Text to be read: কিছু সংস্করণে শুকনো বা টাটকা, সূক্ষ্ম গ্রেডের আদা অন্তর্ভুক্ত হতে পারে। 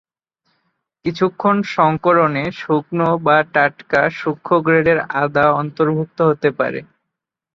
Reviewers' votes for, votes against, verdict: 1, 2, rejected